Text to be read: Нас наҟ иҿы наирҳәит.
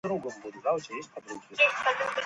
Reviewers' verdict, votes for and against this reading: rejected, 1, 2